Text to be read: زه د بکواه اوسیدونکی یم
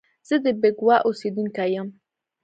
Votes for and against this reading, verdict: 2, 0, accepted